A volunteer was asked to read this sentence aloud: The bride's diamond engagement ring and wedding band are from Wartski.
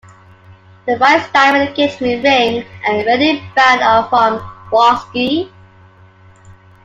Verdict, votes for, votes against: rejected, 0, 2